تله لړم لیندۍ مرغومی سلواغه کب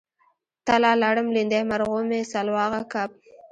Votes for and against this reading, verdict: 1, 2, rejected